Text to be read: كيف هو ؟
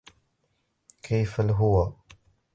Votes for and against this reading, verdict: 0, 2, rejected